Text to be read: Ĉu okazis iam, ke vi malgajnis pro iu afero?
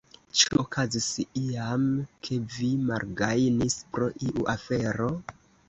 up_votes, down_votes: 1, 2